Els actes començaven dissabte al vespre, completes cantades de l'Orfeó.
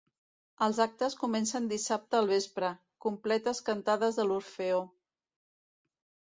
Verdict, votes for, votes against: rejected, 1, 2